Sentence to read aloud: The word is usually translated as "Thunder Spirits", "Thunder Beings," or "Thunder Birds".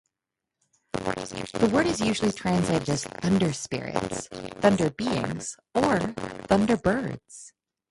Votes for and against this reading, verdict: 2, 2, rejected